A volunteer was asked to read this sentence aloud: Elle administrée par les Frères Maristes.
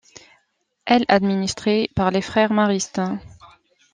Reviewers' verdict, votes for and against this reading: rejected, 1, 2